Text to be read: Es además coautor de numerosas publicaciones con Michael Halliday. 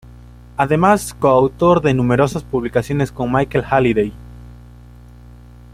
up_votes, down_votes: 1, 2